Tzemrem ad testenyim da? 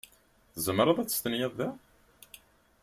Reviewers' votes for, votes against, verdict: 0, 2, rejected